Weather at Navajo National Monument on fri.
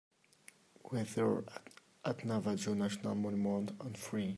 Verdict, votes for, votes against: rejected, 0, 2